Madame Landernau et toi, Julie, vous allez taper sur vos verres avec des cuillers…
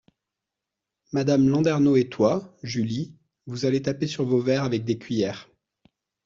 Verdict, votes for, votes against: accepted, 2, 0